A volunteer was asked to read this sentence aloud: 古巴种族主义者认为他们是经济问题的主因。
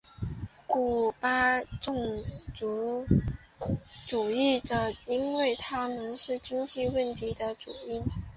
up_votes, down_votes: 0, 2